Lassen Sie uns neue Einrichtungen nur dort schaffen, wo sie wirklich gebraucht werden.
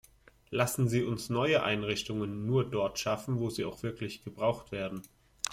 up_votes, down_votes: 0, 2